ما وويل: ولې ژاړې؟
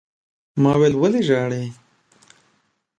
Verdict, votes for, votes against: accepted, 2, 0